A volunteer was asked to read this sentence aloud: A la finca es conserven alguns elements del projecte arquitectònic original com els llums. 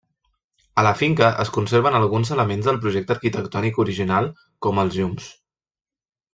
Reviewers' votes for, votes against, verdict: 0, 2, rejected